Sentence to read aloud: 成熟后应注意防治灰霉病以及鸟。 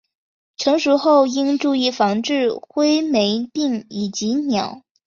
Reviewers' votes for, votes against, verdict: 2, 0, accepted